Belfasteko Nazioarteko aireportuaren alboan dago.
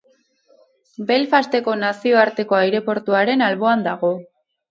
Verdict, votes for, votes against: accepted, 8, 0